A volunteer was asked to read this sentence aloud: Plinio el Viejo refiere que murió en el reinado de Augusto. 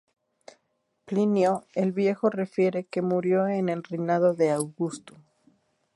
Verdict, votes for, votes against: accepted, 2, 0